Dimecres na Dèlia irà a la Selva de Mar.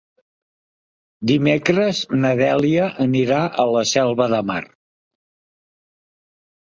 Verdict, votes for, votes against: rejected, 0, 2